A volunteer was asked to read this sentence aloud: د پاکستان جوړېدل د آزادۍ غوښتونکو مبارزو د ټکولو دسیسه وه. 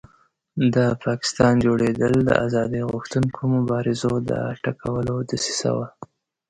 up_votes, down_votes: 2, 0